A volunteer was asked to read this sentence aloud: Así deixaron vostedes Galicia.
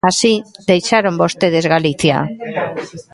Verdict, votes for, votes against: accepted, 2, 1